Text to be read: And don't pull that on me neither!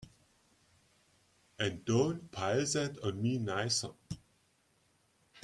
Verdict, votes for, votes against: rejected, 0, 2